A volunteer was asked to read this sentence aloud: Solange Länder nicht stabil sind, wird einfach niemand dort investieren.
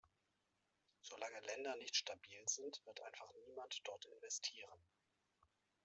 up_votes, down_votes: 0, 2